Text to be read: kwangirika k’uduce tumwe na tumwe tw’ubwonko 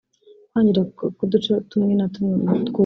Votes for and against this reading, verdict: 1, 2, rejected